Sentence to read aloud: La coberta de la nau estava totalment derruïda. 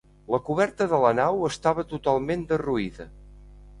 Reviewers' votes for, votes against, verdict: 2, 0, accepted